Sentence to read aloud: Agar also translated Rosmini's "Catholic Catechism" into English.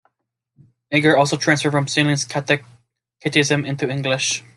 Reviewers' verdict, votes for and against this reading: rejected, 0, 2